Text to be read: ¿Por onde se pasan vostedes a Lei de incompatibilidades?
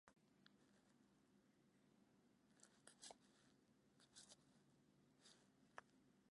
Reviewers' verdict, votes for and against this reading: rejected, 0, 2